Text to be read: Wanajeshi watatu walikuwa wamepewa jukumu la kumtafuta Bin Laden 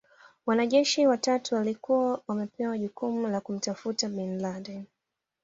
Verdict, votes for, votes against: accepted, 2, 0